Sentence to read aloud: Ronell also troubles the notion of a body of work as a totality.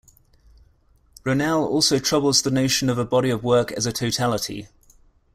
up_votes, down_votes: 2, 0